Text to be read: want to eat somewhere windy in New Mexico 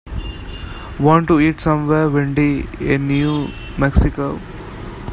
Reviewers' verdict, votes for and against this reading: rejected, 1, 2